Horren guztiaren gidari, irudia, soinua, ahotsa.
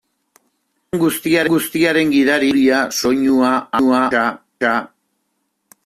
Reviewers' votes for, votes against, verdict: 0, 2, rejected